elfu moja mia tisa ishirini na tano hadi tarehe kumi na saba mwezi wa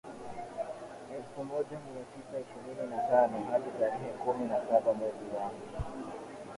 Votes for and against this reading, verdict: 0, 3, rejected